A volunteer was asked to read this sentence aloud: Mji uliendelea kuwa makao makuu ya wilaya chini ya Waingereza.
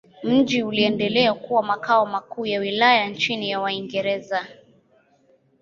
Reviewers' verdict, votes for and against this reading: rejected, 0, 2